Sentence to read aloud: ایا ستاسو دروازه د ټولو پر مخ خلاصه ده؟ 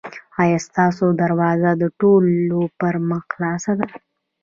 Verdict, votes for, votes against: rejected, 1, 2